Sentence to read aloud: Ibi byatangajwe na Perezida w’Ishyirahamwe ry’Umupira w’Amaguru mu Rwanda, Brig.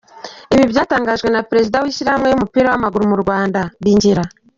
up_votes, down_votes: 1, 2